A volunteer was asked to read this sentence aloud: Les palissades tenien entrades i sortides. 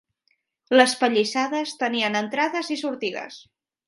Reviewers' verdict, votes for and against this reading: rejected, 1, 2